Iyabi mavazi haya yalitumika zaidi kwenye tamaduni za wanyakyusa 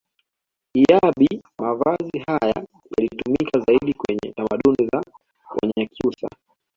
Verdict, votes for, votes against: accepted, 2, 0